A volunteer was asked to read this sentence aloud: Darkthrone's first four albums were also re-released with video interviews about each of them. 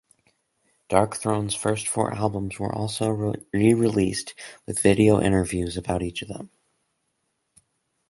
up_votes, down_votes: 0, 4